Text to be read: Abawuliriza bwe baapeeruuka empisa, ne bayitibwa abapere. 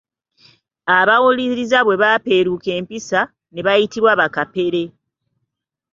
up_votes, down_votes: 1, 2